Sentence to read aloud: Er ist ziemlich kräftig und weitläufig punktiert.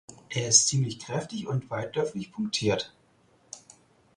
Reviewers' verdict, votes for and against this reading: accepted, 4, 0